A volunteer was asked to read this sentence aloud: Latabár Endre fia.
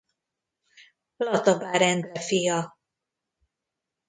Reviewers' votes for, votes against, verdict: 0, 2, rejected